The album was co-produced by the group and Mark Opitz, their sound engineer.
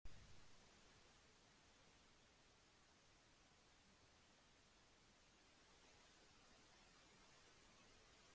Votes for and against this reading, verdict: 0, 2, rejected